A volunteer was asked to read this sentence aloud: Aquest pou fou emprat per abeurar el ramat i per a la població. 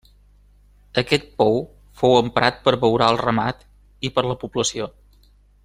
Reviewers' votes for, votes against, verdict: 2, 0, accepted